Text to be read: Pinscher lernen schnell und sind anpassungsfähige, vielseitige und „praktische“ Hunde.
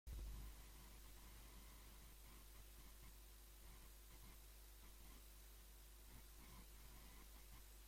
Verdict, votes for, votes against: rejected, 0, 2